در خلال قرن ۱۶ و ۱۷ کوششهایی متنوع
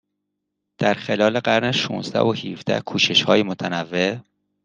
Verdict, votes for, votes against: rejected, 0, 2